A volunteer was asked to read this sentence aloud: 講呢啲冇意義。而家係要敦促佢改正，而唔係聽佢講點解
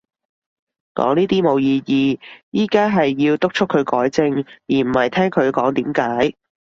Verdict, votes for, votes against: rejected, 1, 2